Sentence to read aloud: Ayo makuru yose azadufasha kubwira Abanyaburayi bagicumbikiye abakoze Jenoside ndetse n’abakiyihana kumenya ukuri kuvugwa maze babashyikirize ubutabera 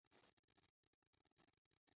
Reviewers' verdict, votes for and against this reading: rejected, 0, 2